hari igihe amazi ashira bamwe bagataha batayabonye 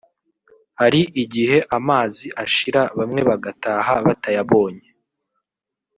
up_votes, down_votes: 2, 1